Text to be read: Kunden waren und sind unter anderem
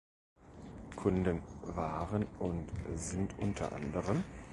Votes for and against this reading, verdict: 1, 2, rejected